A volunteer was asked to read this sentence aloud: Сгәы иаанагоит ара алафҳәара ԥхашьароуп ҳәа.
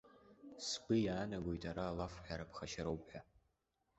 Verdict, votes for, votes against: accepted, 2, 0